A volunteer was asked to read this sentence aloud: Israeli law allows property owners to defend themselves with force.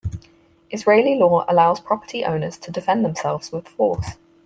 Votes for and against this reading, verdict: 0, 4, rejected